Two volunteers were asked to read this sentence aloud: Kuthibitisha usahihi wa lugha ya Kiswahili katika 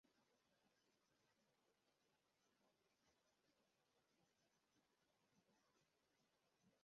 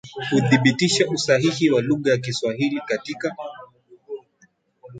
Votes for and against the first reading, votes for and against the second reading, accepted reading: 0, 2, 5, 1, second